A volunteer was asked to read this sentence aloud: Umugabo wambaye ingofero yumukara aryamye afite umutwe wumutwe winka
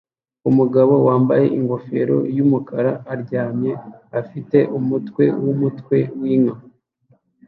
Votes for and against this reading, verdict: 2, 0, accepted